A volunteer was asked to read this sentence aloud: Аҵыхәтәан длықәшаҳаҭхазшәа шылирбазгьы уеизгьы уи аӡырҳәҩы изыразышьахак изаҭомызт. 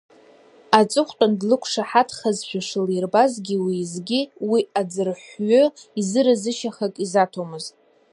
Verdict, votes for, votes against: rejected, 0, 2